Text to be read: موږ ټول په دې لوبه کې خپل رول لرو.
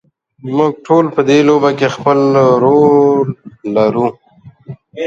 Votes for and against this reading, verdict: 2, 0, accepted